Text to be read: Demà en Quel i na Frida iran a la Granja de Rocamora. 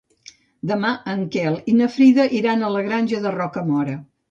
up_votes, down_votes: 2, 0